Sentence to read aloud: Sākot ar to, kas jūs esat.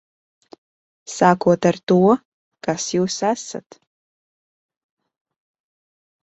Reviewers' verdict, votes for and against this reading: accepted, 2, 0